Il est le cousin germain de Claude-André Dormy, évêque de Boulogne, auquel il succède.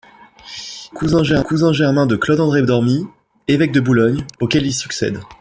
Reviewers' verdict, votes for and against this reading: rejected, 0, 2